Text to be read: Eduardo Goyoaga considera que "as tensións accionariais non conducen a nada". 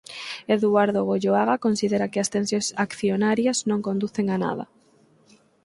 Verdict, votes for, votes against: rejected, 2, 4